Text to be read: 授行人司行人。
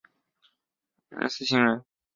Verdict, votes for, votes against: rejected, 1, 4